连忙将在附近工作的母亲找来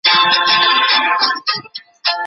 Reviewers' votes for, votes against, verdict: 2, 3, rejected